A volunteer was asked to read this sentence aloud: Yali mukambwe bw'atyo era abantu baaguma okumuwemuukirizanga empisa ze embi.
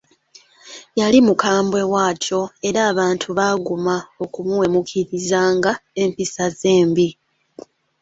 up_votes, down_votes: 2, 0